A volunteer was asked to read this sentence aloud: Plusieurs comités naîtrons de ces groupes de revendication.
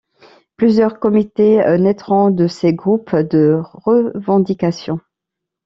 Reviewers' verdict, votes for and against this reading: accepted, 2, 1